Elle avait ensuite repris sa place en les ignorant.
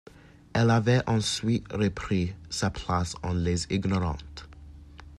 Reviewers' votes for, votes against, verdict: 0, 2, rejected